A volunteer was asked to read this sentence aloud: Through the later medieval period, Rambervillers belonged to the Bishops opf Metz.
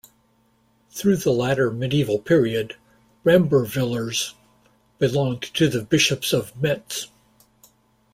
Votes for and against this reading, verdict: 1, 2, rejected